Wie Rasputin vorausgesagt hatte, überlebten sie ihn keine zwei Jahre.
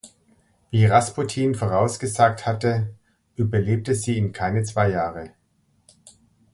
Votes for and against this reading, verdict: 0, 2, rejected